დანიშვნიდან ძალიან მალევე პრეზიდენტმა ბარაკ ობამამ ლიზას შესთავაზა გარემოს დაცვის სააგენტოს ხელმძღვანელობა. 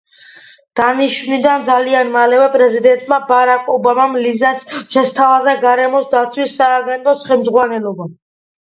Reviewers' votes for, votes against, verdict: 2, 0, accepted